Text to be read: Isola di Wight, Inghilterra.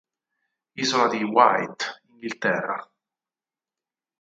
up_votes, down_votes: 2, 4